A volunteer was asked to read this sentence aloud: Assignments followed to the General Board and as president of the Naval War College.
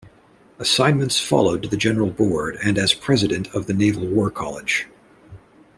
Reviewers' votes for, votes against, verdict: 1, 2, rejected